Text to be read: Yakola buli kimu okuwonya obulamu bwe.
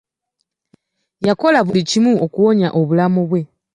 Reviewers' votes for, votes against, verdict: 3, 0, accepted